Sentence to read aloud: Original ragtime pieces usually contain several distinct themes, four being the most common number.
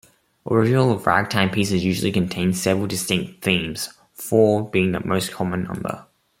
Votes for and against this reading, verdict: 2, 0, accepted